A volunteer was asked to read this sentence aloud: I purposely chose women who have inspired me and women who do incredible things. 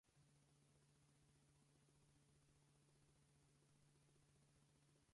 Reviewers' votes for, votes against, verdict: 0, 4, rejected